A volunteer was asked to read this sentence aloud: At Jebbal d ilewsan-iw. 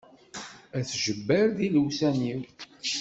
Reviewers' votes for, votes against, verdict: 2, 0, accepted